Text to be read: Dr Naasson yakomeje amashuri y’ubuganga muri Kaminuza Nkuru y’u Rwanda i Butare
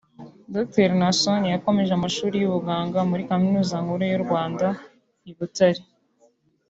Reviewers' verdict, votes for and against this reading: accepted, 2, 0